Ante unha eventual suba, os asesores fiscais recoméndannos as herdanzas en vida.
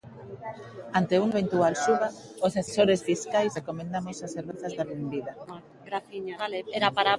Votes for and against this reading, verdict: 1, 2, rejected